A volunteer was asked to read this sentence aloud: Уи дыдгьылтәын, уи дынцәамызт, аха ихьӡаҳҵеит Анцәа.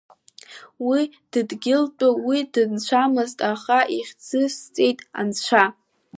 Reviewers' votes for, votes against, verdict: 0, 2, rejected